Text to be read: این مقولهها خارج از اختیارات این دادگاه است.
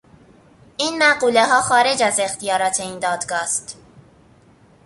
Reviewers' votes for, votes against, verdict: 2, 0, accepted